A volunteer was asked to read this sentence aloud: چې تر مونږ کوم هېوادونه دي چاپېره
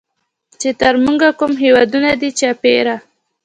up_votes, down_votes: 2, 0